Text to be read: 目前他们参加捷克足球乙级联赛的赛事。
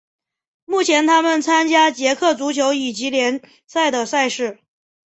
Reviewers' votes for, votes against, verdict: 0, 2, rejected